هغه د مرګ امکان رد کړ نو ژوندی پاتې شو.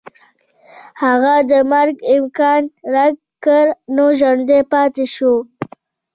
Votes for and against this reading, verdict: 0, 2, rejected